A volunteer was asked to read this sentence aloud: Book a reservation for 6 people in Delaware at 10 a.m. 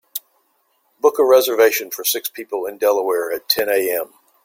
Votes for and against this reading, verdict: 0, 2, rejected